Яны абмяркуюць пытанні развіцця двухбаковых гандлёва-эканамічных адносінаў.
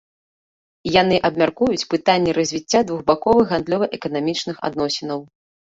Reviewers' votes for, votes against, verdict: 2, 0, accepted